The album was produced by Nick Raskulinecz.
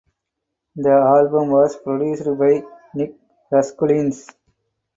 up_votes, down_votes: 2, 4